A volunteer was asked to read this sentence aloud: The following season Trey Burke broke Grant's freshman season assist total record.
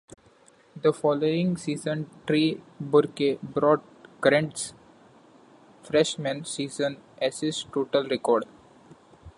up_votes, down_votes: 1, 2